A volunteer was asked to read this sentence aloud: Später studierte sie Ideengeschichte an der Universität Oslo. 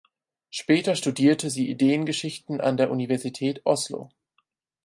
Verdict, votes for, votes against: rejected, 2, 4